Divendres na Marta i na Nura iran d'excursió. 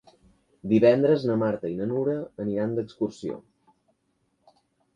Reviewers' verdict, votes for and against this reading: rejected, 1, 2